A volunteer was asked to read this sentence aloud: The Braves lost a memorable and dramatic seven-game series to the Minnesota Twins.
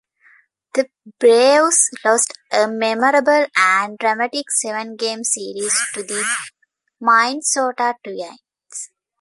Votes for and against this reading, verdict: 0, 2, rejected